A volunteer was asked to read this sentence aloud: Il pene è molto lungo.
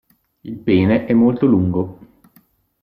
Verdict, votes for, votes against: accepted, 2, 0